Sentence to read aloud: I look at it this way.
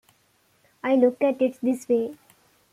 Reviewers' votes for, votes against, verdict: 2, 0, accepted